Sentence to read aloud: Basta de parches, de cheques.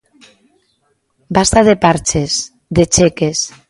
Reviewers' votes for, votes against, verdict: 2, 0, accepted